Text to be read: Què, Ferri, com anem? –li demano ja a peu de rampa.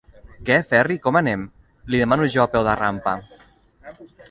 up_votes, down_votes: 1, 2